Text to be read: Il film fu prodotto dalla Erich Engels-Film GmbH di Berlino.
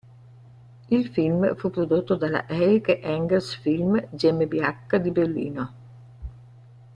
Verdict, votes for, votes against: accepted, 2, 0